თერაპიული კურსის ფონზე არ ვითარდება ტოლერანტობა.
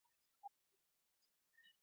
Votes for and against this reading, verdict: 0, 2, rejected